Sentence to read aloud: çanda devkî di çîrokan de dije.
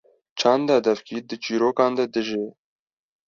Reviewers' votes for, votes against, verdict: 2, 0, accepted